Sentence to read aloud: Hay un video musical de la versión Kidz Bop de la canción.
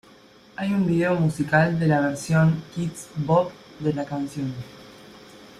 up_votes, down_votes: 2, 0